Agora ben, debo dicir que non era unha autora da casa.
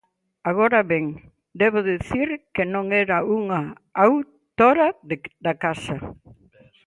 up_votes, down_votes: 0, 2